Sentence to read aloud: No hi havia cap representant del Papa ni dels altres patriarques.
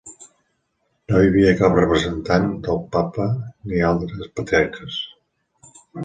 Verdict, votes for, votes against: rejected, 0, 2